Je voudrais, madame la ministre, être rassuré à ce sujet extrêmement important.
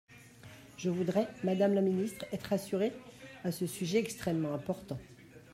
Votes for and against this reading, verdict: 0, 2, rejected